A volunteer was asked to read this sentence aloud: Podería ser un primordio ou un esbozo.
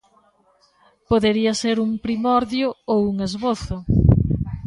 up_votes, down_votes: 3, 1